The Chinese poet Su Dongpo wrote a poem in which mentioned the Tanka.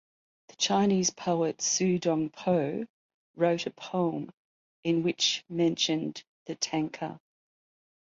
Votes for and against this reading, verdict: 1, 2, rejected